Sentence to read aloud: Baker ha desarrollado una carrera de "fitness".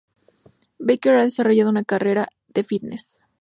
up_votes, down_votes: 2, 0